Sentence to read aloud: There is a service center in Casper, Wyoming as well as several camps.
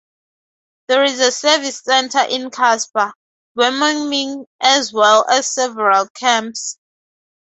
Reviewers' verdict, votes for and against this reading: rejected, 0, 4